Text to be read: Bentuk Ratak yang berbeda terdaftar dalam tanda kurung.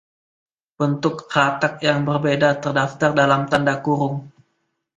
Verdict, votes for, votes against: accepted, 2, 0